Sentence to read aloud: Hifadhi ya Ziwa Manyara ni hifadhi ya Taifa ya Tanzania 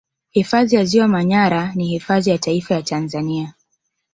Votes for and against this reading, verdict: 2, 0, accepted